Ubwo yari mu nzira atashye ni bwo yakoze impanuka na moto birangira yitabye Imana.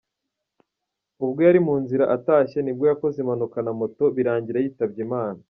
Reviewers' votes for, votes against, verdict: 2, 0, accepted